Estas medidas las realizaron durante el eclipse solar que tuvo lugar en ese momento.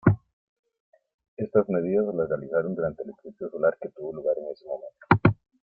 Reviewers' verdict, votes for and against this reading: rejected, 1, 2